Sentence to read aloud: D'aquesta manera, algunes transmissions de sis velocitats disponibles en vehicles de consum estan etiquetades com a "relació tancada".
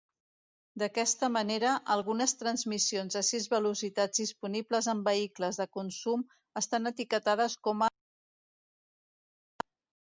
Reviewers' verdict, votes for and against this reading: rejected, 0, 2